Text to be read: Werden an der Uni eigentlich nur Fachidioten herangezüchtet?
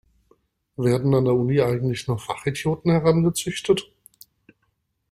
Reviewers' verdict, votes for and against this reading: rejected, 1, 2